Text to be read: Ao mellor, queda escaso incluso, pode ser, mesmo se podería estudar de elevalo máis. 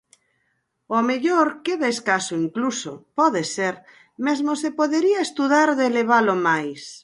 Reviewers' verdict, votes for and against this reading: accepted, 4, 0